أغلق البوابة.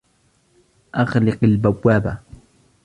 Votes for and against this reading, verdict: 1, 2, rejected